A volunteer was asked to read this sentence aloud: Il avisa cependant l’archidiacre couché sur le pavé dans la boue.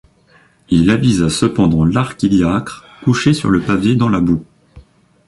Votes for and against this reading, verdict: 1, 2, rejected